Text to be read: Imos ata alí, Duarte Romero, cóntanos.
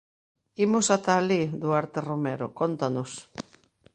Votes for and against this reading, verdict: 2, 0, accepted